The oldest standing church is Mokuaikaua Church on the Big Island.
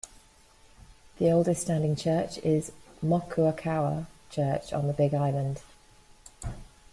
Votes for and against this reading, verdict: 2, 1, accepted